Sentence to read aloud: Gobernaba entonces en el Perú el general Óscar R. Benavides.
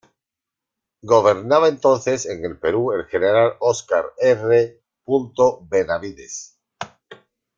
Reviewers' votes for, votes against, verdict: 1, 2, rejected